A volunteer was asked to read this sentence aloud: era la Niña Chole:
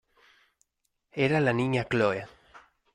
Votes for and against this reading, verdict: 1, 2, rejected